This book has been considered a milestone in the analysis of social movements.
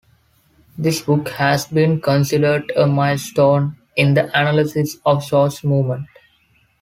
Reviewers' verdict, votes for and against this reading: accepted, 3, 0